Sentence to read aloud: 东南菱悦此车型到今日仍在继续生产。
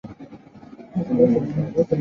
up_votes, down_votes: 5, 6